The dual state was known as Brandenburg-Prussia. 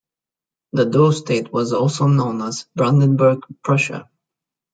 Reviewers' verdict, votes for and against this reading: rejected, 0, 2